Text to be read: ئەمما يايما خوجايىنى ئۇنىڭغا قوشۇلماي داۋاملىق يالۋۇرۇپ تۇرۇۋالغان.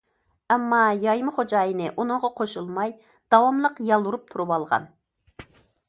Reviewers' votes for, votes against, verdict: 2, 0, accepted